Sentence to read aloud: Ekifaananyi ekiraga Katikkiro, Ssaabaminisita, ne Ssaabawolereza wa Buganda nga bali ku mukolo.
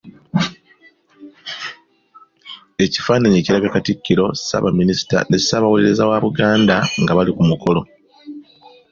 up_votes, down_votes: 2, 0